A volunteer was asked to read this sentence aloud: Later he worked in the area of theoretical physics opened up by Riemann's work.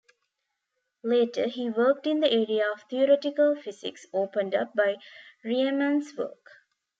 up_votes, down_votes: 1, 2